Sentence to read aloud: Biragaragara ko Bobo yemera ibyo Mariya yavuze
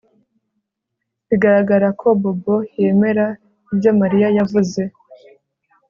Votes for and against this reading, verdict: 2, 0, accepted